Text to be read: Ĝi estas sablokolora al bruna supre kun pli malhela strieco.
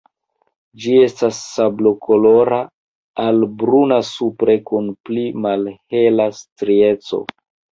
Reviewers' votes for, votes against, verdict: 2, 0, accepted